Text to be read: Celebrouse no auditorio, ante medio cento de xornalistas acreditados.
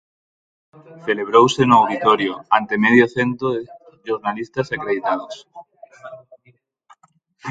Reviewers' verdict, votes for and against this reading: rejected, 0, 4